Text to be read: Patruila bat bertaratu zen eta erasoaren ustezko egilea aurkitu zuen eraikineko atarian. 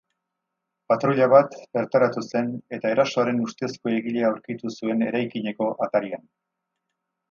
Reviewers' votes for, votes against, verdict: 0, 2, rejected